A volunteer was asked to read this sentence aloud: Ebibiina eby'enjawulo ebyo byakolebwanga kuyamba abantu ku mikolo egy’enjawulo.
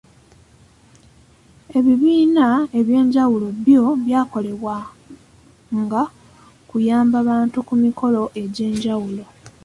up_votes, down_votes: 1, 2